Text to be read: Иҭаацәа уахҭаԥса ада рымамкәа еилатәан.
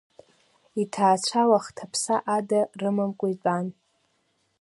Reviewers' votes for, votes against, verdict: 2, 0, accepted